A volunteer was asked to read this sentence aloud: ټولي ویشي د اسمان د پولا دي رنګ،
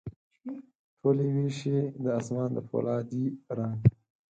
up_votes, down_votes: 4, 0